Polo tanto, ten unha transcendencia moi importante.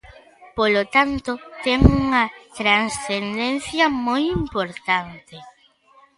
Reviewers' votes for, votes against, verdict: 3, 2, accepted